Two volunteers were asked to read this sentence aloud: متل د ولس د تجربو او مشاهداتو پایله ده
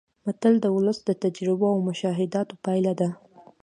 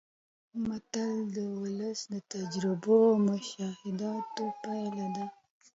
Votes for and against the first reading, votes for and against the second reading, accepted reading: 1, 2, 2, 0, second